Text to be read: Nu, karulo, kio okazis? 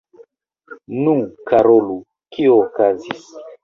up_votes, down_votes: 1, 2